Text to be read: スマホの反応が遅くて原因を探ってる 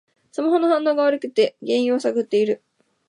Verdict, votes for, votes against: rejected, 0, 2